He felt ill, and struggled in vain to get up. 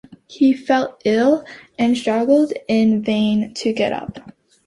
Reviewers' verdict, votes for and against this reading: accepted, 2, 0